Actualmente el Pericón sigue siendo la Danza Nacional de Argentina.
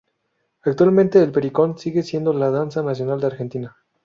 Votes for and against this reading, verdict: 0, 2, rejected